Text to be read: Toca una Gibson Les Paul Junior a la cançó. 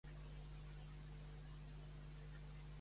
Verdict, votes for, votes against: rejected, 0, 2